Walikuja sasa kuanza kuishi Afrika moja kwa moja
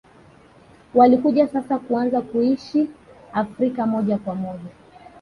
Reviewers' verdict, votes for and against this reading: rejected, 0, 2